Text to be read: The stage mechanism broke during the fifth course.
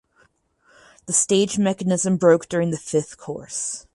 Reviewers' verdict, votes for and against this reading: accepted, 4, 0